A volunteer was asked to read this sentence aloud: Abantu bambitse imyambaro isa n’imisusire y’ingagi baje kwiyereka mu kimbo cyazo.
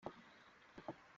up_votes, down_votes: 0, 4